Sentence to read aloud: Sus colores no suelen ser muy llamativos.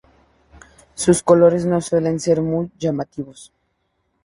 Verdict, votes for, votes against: accepted, 2, 0